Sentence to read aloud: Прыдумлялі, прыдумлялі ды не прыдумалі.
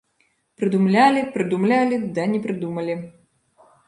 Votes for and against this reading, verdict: 0, 2, rejected